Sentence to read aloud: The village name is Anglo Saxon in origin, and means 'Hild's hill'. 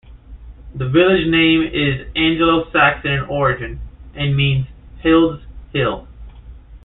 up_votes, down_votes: 0, 2